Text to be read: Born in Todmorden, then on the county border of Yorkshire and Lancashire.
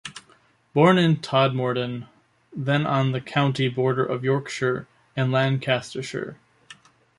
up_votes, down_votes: 1, 2